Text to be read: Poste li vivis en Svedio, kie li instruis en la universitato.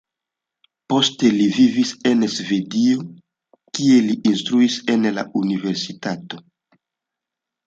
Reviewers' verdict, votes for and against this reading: rejected, 1, 2